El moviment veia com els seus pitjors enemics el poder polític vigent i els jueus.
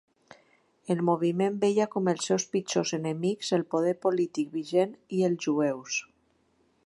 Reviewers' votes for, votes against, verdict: 3, 0, accepted